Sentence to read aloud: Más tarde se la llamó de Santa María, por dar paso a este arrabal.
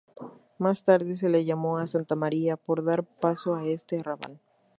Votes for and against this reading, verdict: 2, 2, rejected